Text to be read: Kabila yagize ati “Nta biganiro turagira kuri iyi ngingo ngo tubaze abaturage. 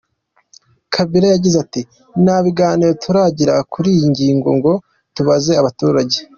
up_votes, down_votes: 2, 0